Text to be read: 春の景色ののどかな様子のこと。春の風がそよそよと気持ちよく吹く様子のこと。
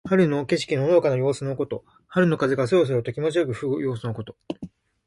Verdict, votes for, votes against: accepted, 2, 0